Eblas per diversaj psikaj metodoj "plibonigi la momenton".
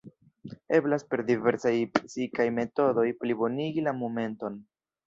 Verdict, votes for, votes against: rejected, 1, 2